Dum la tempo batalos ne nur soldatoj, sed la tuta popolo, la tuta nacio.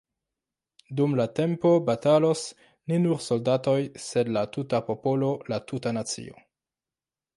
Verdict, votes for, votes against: accepted, 2, 0